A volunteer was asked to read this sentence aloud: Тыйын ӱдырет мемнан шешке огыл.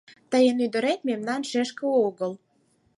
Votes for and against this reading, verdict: 4, 0, accepted